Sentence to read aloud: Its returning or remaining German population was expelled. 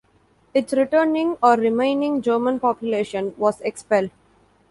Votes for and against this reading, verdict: 2, 0, accepted